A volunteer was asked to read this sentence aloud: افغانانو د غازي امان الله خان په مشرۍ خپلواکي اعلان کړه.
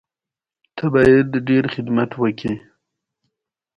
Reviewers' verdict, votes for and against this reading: accepted, 2, 1